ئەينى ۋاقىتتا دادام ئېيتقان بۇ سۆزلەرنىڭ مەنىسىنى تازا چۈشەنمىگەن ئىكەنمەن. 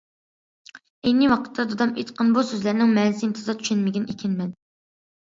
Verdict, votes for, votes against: accepted, 2, 0